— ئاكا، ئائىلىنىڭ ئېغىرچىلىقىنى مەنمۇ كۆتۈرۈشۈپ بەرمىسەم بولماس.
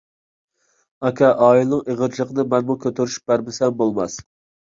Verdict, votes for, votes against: accepted, 2, 0